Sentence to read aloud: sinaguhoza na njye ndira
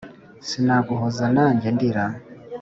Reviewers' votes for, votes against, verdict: 2, 0, accepted